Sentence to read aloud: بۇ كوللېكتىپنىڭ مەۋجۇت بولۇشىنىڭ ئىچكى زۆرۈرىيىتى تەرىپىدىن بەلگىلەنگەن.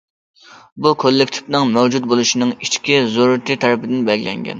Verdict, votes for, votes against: accepted, 2, 0